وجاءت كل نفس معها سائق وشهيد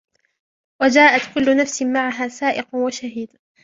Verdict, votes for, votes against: accepted, 2, 0